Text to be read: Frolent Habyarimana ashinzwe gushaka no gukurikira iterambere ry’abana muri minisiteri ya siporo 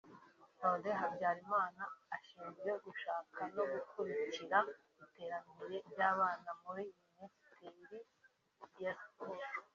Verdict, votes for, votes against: rejected, 0, 2